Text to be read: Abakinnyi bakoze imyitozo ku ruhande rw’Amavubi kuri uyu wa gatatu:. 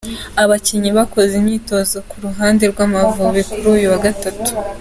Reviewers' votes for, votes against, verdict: 3, 0, accepted